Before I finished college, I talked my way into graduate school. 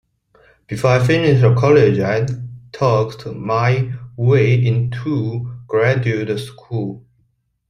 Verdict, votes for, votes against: accepted, 2, 1